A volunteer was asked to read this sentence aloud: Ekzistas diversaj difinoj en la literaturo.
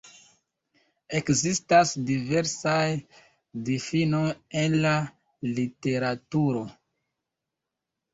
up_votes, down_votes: 2, 1